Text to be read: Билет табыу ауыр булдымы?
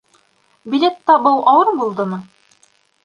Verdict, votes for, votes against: accepted, 2, 0